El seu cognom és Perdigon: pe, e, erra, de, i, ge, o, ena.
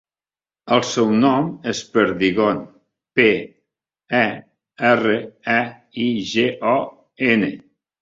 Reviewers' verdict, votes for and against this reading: rejected, 0, 2